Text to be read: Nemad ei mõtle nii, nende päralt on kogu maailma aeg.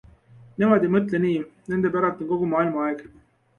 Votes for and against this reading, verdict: 2, 0, accepted